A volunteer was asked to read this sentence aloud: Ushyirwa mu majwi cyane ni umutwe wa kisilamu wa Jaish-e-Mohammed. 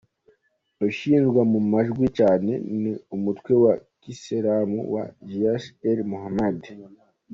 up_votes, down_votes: 2, 0